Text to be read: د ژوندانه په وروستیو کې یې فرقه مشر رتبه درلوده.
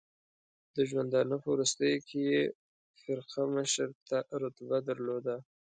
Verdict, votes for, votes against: accepted, 2, 1